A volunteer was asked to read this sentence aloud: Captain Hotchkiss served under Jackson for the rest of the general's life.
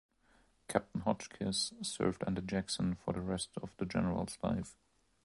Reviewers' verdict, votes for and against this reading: accepted, 2, 0